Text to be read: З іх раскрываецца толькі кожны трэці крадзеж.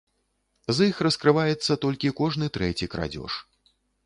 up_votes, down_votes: 1, 2